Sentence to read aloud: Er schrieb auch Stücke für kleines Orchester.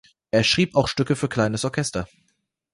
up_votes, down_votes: 2, 0